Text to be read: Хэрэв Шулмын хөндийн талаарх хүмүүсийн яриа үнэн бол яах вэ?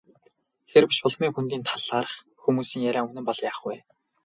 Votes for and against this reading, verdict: 2, 0, accepted